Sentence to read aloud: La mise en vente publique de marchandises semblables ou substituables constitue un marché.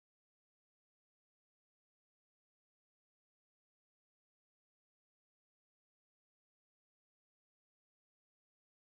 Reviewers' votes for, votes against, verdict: 0, 2, rejected